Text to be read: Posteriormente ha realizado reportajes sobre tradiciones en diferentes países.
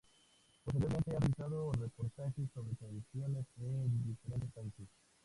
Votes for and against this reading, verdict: 0, 2, rejected